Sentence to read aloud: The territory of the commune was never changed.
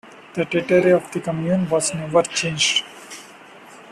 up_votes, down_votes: 1, 3